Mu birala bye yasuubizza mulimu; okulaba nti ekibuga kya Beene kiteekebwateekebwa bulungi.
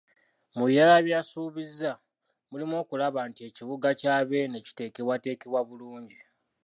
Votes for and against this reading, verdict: 2, 1, accepted